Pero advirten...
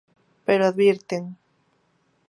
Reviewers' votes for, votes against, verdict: 2, 0, accepted